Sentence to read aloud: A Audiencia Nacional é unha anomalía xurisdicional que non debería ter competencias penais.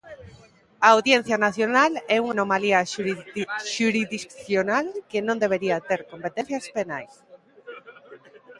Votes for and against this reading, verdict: 1, 2, rejected